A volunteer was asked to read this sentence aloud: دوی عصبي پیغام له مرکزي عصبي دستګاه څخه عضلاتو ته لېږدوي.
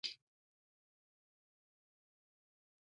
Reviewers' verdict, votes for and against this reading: rejected, 1, 2